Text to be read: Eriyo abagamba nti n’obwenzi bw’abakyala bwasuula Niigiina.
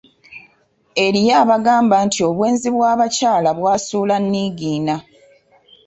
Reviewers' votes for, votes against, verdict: 1, 2, rejected